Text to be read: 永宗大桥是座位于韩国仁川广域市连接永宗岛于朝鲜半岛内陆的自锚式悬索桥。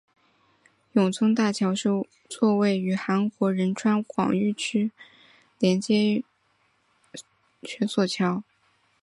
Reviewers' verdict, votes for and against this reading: rejected, 0, 4